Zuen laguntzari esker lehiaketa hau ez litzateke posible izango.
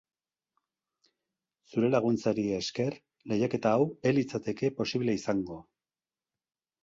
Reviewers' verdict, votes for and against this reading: rejected, 0, 2